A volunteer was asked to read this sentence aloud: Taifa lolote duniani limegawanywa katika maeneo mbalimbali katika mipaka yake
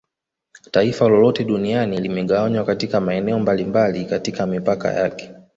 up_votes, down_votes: 2, 1